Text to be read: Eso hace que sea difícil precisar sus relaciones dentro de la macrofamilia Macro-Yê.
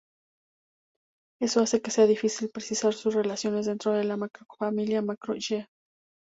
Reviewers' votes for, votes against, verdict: 2, 0, accepted